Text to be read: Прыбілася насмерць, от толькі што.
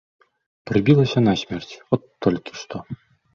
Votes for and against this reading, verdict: 2, 0, accepted